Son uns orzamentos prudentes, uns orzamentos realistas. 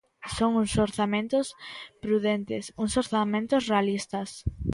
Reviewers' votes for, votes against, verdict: 1, 2, rejected